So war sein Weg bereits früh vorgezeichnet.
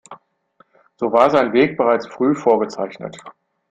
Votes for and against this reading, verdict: 2, 0, accepted